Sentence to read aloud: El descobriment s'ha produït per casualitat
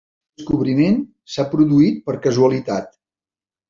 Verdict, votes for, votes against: rejected, 0, 3